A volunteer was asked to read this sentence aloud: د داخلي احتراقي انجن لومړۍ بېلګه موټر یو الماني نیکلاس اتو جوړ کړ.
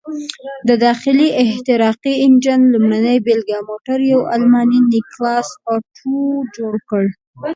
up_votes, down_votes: 1, 2